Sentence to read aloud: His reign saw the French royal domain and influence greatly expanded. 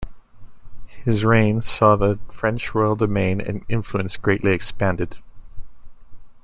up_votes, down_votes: 2, 0